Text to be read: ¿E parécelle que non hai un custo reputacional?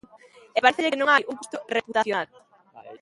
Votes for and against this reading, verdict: 0, 2, rejected